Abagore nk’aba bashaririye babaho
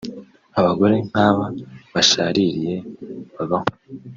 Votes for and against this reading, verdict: 2, 0, accepted